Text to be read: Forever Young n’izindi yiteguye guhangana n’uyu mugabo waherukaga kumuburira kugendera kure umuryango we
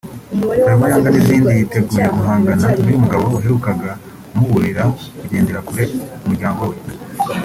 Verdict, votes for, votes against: rejected, 0, 2